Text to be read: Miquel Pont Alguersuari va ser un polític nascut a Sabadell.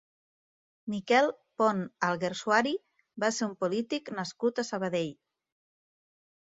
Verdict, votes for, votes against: accepted, 2, 0